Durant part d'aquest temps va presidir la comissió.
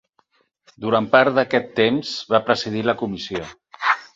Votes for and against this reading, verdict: 8, 0, accepted